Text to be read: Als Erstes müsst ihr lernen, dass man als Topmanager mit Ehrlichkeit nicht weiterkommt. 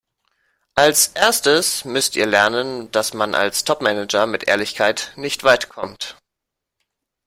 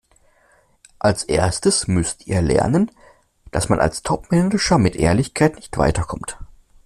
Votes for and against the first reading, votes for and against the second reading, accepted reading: 1, 2, 2, 0, second